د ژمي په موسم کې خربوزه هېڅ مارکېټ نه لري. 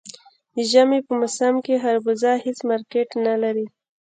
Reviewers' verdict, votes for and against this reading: rejected, 1, 2